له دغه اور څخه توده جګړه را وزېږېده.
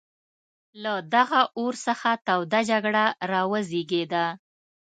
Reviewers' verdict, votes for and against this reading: accepted, 2, 0